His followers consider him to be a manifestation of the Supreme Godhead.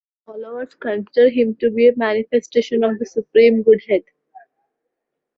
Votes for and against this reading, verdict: 0, 2, rejected